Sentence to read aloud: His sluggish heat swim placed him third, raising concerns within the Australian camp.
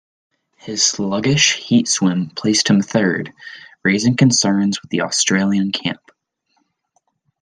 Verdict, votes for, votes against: accepted, 2, 0